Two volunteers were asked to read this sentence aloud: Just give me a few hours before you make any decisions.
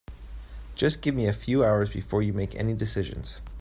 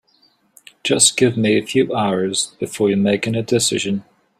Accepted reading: first